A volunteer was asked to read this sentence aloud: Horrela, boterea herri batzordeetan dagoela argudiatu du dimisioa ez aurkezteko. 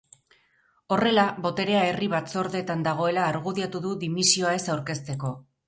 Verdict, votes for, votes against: rejected, 0, 2